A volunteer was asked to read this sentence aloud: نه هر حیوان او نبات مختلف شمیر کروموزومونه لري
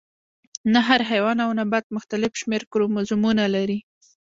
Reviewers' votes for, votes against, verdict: 2, 0, accepted